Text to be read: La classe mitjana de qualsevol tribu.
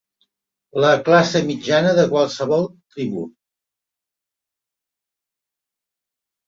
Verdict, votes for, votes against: accepted, 3, 0